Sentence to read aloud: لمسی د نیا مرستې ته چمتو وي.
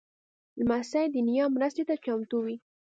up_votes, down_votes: 2, 0